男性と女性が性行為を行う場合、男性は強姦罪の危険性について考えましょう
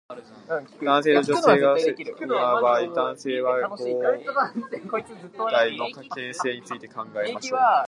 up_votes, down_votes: 0, 2